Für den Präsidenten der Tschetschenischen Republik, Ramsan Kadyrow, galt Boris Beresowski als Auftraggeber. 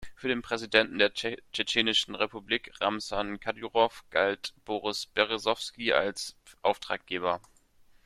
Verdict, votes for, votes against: rejected, 0, 2